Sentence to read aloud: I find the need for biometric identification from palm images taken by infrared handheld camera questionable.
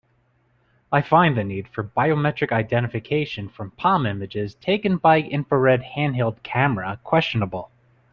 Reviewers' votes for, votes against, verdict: 3, 0, accepted